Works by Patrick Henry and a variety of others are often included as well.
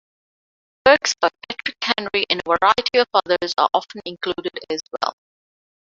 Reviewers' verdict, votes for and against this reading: rejected, 0, 2